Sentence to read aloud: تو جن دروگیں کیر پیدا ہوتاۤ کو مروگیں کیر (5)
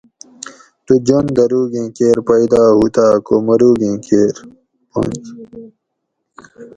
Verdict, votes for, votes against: rejected, 0, 2